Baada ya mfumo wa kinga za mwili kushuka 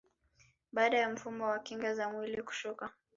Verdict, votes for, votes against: rejected, 1, 2